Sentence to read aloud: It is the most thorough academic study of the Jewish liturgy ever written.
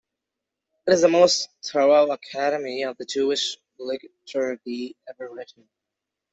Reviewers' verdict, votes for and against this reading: rejected, 0, 2